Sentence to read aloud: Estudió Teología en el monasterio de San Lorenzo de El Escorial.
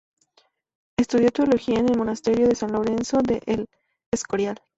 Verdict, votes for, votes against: rejected, 2, 4